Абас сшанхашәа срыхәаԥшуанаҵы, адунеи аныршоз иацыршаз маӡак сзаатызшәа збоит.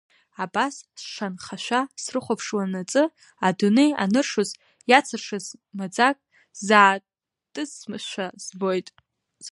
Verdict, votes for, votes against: rejected, 1, 2